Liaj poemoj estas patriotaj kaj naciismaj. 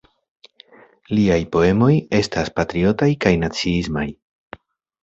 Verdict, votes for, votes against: accepted, 2, 0